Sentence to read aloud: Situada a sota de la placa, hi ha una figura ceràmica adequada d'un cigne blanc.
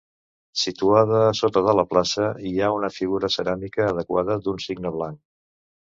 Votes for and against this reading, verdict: 1, 2, rejected